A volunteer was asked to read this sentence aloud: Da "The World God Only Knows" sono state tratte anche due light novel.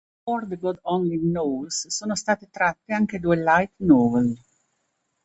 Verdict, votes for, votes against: rejected, 0, 2